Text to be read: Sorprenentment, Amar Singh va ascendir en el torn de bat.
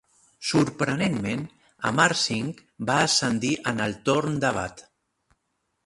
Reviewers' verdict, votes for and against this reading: rejected, 1, 2